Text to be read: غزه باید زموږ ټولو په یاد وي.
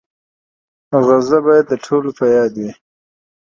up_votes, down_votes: 2, 0